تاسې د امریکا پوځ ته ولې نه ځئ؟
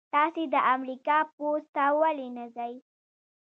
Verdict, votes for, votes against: rejected, 1, 2